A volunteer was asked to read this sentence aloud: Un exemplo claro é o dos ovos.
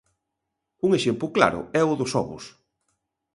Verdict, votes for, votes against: rejected, 1, 2